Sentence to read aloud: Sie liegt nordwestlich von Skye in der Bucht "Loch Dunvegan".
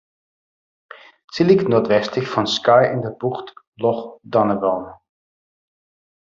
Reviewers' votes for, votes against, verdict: 1, 2, rejected